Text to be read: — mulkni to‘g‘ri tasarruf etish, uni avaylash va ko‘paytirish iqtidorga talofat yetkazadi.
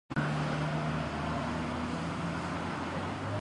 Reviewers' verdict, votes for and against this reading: rejected, 0, 2